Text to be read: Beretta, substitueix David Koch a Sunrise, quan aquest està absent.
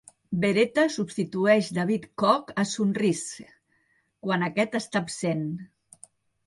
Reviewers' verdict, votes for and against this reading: accepted, 2, 1